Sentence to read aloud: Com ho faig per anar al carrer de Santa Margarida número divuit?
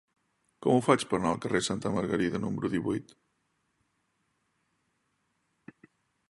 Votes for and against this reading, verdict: 0, 2, rejected